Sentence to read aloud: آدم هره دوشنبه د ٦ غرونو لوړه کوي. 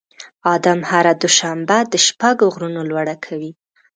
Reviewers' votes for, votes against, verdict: 0, 2, rejected